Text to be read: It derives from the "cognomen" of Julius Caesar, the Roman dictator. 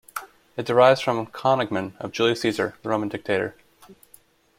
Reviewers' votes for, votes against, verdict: 2, 0, accepted